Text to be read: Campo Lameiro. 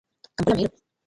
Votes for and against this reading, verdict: 0, 2, rejected